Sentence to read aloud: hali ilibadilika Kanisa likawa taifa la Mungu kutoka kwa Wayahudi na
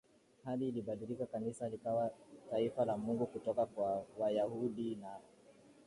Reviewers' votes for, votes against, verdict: 0, 2, rejected